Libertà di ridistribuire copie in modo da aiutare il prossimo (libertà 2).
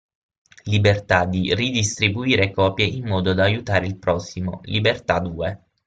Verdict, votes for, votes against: rejected, 0, 2